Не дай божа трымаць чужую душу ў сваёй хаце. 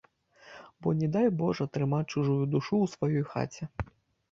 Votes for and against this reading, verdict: 1, 2, rejected